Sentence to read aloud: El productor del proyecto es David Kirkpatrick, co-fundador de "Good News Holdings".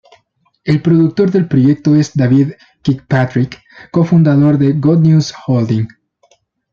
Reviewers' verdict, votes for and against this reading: rejected, 0, 2